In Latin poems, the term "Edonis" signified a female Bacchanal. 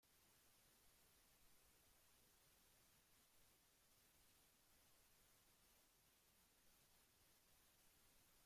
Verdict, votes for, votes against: rejected, 0, 2